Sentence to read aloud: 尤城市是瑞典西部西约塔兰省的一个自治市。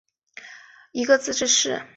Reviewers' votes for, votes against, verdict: 0, 3, rejected